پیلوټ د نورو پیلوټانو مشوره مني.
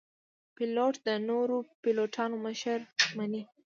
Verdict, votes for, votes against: rejected, 0, 2